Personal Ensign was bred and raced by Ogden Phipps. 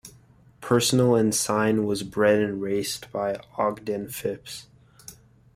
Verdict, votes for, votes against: rejected, 1, 2